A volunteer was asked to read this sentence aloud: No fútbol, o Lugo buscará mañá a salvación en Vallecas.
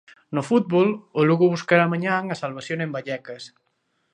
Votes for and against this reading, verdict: 1, 2, rejected